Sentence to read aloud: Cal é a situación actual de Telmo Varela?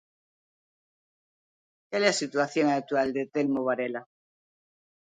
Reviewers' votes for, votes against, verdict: 2, 1, accepted